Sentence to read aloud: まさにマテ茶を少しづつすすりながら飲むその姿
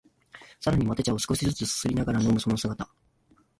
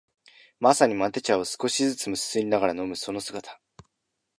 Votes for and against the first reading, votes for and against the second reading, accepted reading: 2, 1, 1, 2, first